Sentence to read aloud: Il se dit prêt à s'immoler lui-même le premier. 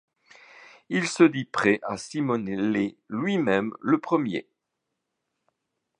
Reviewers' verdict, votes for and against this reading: rejected, 0, 2